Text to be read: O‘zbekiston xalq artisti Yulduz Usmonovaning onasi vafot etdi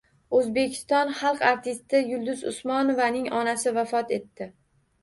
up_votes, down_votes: 2, 0